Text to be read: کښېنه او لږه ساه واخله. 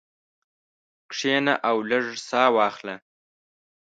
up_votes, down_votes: 1, 2